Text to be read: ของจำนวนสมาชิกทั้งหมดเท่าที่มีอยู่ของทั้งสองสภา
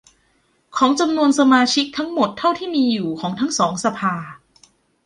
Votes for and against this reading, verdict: 2, 0, accepted